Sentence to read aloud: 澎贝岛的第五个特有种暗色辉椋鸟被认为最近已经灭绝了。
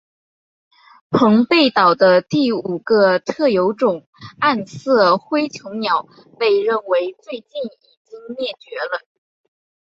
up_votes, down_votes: 2, 1